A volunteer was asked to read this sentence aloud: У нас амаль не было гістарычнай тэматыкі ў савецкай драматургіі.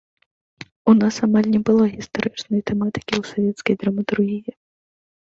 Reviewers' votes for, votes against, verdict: 2, 0, accepted